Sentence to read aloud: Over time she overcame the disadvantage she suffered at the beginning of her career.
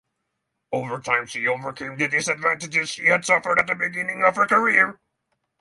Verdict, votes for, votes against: accepted, 3, 0